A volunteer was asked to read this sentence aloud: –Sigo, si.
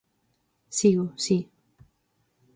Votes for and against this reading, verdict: 4, 0, accepted